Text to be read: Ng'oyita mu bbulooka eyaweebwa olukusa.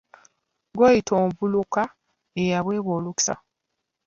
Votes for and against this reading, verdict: 0, 2, rejected